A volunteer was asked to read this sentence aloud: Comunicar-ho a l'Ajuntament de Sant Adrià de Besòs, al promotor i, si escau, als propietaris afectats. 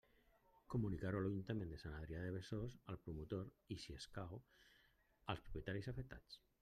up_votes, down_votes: 2, 0